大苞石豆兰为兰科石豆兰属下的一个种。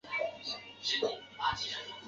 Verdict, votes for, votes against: rejected, 2, 3